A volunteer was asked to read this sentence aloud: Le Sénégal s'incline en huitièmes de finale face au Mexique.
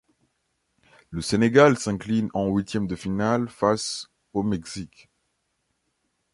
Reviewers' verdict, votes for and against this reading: accepted, 2, 1